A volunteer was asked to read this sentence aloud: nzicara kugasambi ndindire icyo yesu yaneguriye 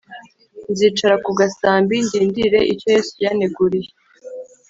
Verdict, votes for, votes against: accepted, 4, 0